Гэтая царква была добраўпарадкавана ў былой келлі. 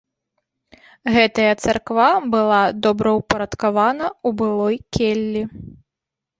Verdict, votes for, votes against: rejected, 0, 2